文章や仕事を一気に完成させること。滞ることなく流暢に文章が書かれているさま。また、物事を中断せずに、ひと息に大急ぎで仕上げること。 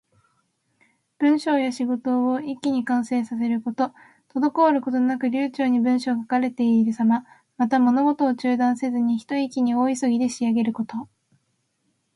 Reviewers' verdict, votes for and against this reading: accepted, 2, 0